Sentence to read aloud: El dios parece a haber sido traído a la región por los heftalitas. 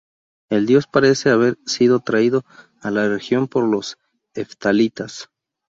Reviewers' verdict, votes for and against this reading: rejected, 0, 2